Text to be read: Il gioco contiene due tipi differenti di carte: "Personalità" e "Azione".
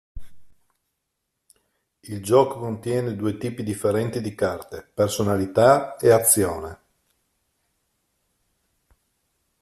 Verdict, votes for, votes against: accepted, 2, 0